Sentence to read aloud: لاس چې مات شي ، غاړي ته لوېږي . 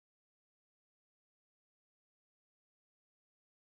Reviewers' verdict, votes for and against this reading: rejected, 0, 2